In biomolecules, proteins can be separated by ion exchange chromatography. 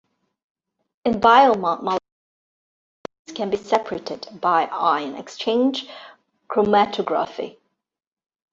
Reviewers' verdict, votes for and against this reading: rejected, 1, 2